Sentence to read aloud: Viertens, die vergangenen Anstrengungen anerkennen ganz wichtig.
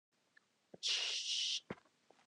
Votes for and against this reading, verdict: 0, 2, rejected